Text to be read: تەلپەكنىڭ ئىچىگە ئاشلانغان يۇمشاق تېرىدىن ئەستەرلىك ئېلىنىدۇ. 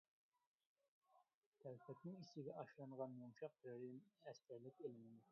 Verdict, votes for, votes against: rejected, 0, 2